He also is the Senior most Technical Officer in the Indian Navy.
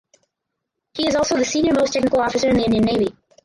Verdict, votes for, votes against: rejected, 2, 4